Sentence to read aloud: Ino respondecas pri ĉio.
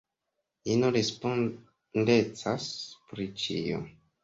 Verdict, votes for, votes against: rejected, 1, 3